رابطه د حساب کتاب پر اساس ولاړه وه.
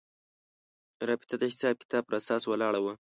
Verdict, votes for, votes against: accepted, 2, 0